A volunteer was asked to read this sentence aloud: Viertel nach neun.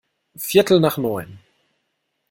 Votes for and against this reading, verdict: 2, 0, accepted